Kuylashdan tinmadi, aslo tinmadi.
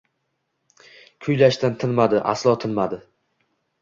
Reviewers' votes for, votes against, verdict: 2, 0, accepted